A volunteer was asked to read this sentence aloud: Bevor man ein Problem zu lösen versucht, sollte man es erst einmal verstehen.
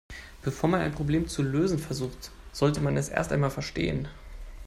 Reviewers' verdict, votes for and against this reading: accepted, 2, 0